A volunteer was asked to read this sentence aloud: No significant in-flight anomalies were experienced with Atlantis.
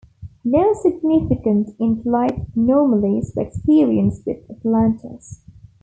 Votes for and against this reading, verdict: 2, 0, accepted